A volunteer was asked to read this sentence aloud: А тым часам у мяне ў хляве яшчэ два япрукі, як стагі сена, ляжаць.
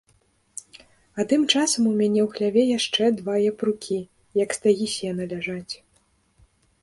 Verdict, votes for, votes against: accepted, 2, 0